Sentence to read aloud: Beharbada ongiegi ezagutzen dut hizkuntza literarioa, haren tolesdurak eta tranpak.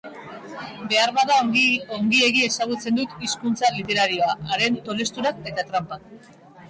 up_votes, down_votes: 0, 2